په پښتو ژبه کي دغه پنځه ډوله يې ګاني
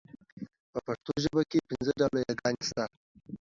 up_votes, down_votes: 2, 0